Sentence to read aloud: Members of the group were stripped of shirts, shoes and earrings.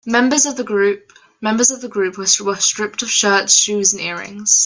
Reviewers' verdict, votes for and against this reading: rejected, 0, 2